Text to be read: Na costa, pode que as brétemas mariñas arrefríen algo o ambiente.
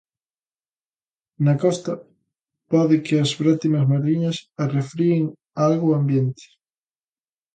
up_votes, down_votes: 2, 0